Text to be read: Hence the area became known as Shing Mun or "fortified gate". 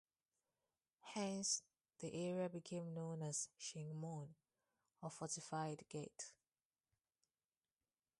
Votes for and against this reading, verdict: 0, 2, rejected